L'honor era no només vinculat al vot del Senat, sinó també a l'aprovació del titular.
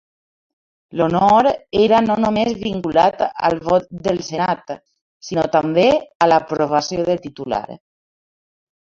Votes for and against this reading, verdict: 0, 2, rejected